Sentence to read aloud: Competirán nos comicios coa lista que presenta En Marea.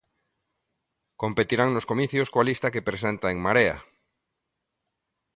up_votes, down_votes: 2, 0